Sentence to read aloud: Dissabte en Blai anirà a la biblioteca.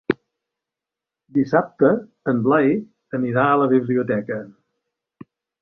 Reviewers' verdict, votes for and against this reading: accepted, 3, 0